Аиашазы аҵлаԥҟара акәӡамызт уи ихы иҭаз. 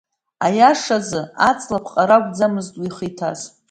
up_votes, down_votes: 1, 2